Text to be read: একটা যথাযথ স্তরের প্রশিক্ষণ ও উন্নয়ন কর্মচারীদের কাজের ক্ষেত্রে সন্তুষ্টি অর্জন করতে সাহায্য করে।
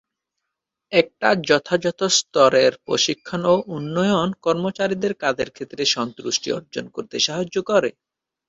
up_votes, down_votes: 8, 1